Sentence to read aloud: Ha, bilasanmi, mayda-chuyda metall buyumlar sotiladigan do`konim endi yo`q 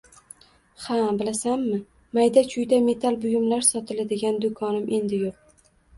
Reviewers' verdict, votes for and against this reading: accepted, 2, 0